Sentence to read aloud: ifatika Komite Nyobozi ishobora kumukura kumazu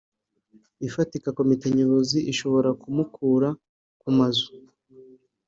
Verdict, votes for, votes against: accepted, 2, 0